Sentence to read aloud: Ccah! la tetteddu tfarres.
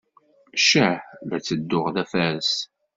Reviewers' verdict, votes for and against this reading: rejected, 1, 2